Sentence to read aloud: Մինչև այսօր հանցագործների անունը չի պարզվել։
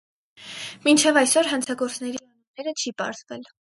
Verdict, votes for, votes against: rejected, 0, 4